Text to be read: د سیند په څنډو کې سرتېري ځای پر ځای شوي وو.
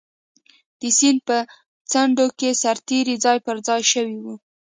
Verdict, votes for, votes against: accepted, 2, 0